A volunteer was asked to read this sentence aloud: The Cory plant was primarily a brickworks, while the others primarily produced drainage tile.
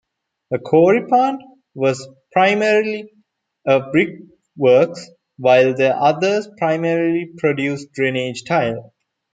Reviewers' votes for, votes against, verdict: 2, 0, accepted